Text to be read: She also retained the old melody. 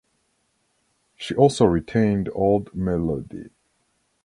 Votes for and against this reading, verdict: 2, 1, accepted